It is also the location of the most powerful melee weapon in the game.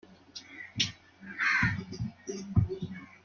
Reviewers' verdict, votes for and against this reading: rejected, 0, 2